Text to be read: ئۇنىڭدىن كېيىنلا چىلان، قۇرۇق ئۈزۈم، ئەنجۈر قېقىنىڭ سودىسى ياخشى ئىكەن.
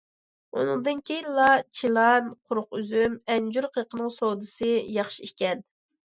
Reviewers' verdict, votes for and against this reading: accepted, 2, 0